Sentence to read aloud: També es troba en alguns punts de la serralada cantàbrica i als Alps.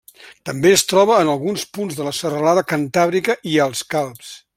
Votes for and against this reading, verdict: 0, 2, rejected